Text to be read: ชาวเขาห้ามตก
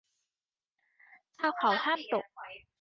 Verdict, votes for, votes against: rejected, 0, 2